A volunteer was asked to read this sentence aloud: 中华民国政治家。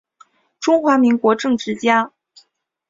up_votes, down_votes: 3, 3